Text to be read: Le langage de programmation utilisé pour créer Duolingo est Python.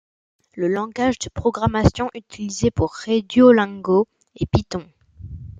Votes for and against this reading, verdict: 2, 1, accepted